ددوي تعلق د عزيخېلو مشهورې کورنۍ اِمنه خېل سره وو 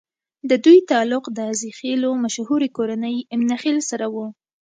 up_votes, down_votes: 2, 0